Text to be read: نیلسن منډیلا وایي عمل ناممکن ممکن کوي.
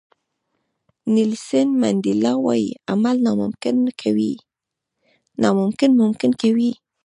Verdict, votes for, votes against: rejected, 1, 2